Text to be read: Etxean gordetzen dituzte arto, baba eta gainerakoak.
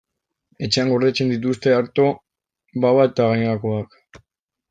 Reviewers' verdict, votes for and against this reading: accepted, 2, 1